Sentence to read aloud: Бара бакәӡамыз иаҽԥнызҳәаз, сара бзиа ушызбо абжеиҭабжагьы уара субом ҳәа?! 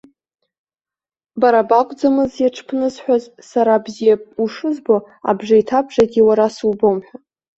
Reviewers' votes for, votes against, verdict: 0, 2, rejected